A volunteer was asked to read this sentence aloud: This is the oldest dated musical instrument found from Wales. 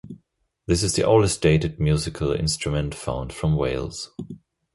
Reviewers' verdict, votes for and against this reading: accepted, 2, 0